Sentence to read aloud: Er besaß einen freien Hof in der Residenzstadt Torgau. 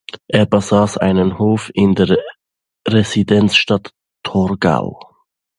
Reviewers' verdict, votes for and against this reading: rejected, 0, 2